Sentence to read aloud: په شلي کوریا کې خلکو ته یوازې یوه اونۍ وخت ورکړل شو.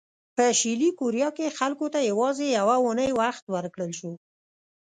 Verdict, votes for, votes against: accepted, 2, 0